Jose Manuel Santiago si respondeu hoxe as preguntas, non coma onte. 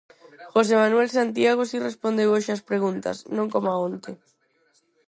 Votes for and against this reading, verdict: 2, 2, rejected